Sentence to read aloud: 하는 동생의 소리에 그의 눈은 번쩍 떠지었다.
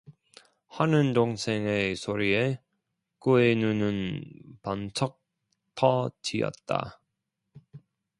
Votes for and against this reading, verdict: 0, 2, rejected